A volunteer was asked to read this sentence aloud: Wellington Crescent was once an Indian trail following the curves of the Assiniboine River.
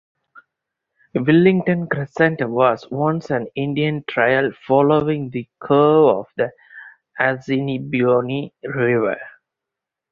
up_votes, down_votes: 0, 4